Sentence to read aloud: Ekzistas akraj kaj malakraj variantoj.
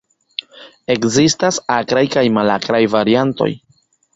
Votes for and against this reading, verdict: 1, 2, rejected